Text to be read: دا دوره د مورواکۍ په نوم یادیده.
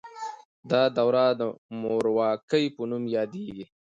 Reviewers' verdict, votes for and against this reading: accepted, 2, 0